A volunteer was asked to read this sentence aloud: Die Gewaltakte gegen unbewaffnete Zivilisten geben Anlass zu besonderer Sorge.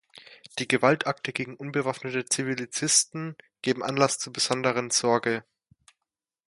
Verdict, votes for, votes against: rejected, 0, 2